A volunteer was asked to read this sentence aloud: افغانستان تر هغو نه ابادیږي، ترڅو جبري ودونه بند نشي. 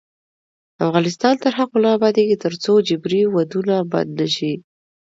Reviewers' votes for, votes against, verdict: 2, 0, accepted